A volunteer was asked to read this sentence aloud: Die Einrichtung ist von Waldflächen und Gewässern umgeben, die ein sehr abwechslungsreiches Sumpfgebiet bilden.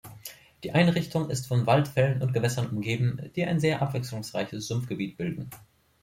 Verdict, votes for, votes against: rejected, 0, 3